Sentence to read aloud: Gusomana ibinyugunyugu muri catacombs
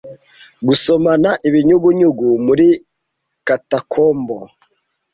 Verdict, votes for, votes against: rejected, 1, 2